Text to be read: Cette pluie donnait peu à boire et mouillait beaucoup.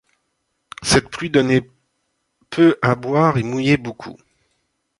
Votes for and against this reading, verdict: 2, 1, accepted